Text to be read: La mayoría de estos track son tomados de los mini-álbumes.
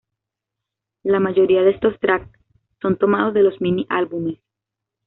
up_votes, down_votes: 2, 0